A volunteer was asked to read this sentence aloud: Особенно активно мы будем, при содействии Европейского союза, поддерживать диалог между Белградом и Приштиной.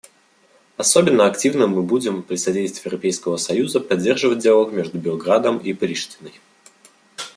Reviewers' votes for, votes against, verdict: 2, 1, accepted